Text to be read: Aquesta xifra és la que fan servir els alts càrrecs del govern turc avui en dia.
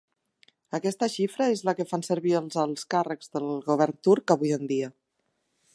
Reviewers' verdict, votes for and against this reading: rejected, 1, 2